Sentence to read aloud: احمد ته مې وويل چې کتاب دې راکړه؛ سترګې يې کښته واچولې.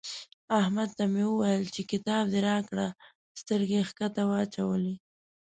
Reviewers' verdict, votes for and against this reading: accepted, 2, 0